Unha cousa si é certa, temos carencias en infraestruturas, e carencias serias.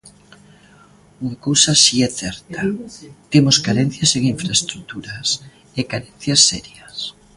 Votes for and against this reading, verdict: 2, 1, accepted